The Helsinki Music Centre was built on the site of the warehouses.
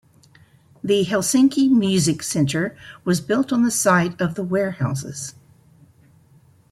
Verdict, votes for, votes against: accepted, 2, 1